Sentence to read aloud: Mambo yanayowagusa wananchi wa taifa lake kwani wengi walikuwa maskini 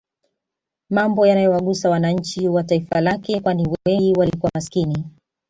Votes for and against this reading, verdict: 2, 0, accepted